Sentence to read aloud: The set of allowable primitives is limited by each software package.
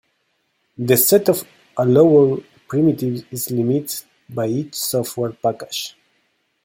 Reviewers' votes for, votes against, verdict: 1, 2, rejected